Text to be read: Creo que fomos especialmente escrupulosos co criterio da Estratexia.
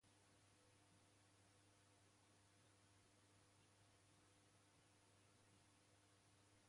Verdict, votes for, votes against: rejected, 1, 2